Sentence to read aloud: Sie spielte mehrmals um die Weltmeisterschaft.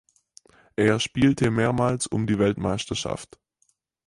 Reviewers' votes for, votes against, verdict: 0, 4, rejected